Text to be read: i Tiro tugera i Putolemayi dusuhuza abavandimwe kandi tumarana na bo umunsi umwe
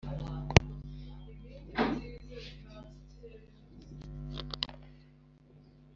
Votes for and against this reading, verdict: 1, 2, rejected